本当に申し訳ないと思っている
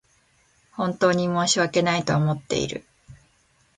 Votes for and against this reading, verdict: 7, 0, accepted